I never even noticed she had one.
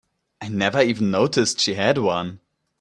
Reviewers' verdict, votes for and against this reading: accepted, 2, 0